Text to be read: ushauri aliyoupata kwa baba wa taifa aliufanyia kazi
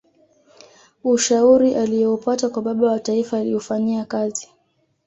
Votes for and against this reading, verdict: 2, 0, accepted